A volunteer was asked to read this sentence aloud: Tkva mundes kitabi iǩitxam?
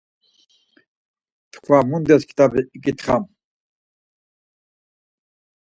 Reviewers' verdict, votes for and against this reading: accepted, 4, 0